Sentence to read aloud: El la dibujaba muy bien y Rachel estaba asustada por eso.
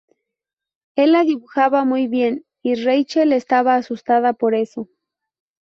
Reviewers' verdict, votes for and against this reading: rejected, 0, 2